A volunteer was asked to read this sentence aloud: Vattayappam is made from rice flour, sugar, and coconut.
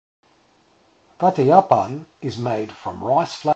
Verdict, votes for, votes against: rejected, 0, 2